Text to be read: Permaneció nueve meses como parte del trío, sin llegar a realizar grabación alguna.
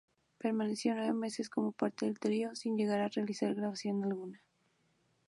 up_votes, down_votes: 2, 0